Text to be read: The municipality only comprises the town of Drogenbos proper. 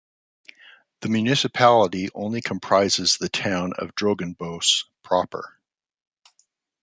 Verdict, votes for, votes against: rejected, 1, 2